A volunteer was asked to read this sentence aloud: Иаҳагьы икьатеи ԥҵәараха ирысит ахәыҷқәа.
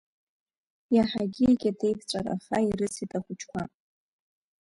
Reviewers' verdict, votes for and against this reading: accepted, 2, 1